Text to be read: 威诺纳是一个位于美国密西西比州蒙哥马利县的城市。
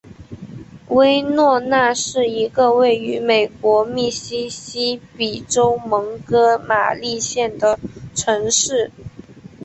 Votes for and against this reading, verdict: 2, 0, accepted